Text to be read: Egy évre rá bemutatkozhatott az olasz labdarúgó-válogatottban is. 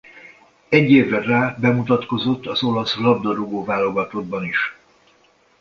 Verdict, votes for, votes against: rejected, 0, 2